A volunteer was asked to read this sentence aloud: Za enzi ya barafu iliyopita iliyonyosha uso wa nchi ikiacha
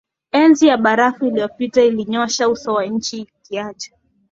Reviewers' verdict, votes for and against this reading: accepted, 2, 0